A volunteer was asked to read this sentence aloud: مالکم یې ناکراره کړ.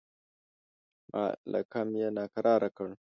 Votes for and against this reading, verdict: 2, 0, accepted